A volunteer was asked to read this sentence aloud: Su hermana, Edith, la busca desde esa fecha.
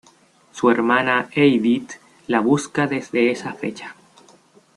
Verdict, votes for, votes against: rejected, 1, 2